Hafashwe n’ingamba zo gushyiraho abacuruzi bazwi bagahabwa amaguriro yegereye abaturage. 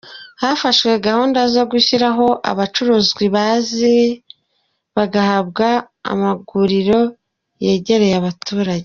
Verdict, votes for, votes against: rejected, 0, 2